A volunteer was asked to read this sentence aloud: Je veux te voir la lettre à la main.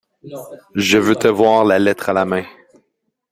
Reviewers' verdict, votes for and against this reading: accepted, 2, 0